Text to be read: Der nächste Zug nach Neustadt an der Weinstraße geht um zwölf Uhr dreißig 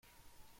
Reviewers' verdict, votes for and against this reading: rejected, 1, 2